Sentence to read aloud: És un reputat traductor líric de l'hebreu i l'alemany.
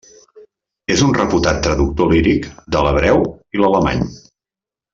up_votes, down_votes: 3, 0